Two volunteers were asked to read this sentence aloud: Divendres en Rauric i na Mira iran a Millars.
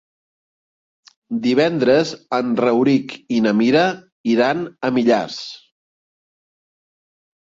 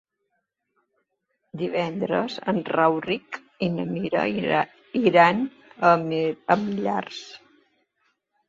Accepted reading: first